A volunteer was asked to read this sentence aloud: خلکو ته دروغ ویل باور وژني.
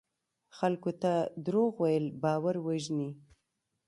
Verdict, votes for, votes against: rejected, 0, 2